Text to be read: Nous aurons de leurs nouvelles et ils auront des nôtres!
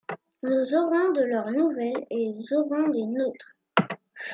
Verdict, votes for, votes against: accepted, 2, 0